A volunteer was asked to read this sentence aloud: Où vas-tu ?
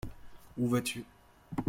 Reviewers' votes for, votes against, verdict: 2, 0, accepted